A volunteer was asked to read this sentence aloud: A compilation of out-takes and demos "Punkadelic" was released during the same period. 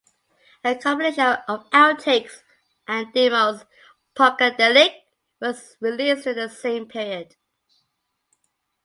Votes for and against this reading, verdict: 2, 0, accepted